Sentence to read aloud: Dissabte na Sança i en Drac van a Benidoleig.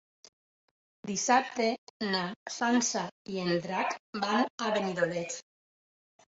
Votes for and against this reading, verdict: 1, 2, rejected